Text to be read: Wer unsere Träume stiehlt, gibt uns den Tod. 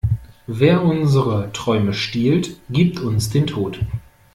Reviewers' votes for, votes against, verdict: 0, 2, rejected